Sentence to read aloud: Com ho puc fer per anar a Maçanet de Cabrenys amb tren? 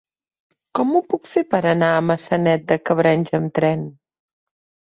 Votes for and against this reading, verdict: 3, 0, accepted